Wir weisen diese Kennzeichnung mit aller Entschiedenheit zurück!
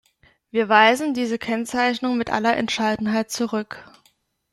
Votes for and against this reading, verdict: 0, 2, rejected